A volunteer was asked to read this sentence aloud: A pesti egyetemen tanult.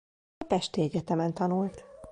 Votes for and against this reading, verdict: 0, 2, rejected